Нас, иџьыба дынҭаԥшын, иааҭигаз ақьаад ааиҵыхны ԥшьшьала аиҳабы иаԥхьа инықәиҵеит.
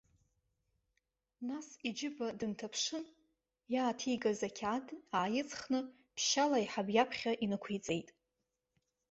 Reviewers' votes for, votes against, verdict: 2, 0, accepted